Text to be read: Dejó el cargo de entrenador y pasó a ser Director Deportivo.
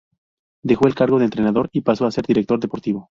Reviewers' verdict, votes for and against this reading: rejected, 0, 2